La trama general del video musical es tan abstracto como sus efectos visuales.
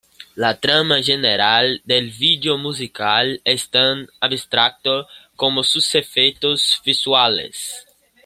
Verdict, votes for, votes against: accepted, 2, 1